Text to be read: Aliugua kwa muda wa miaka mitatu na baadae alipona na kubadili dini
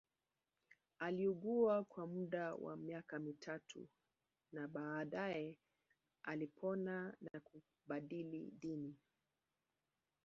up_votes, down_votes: 2, 0